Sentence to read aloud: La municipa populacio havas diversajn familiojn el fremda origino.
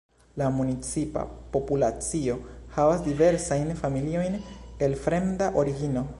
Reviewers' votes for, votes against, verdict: 1, 2, rejected